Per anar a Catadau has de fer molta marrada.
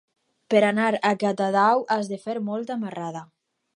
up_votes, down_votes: 4, 0